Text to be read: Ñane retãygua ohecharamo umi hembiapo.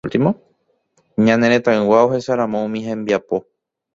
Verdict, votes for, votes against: rejected, 1, 2